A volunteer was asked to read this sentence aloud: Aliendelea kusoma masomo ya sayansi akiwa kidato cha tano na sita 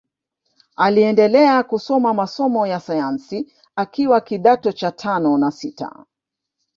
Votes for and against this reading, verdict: 2, 1, accepted